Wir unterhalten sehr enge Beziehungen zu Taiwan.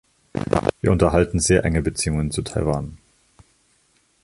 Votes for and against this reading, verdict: 1, 2, rejected